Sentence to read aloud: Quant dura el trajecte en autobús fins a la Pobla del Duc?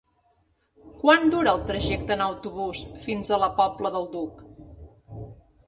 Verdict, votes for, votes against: accepted, 3, 0